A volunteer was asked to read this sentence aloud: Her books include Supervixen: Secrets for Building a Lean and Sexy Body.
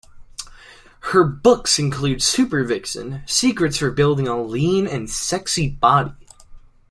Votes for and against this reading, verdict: 2, 0, accepted